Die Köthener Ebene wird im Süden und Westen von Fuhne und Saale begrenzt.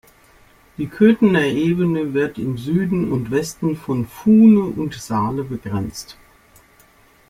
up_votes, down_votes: 2, 0